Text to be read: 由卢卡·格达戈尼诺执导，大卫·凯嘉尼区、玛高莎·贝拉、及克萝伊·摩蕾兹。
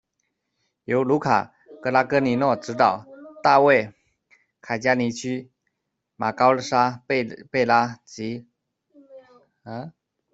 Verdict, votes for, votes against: rejected, 0, 2